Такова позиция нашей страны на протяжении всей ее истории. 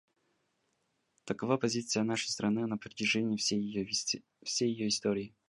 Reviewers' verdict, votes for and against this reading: rejected, 0, 2